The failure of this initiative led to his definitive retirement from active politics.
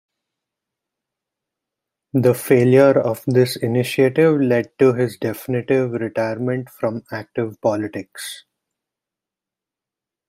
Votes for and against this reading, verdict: 0, 2, rejected